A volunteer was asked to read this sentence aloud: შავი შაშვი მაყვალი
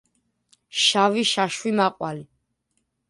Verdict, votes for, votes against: accepted, 2, 0